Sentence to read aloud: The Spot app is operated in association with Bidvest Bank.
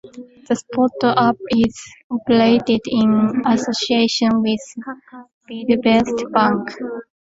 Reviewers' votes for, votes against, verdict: 2, 1, accepted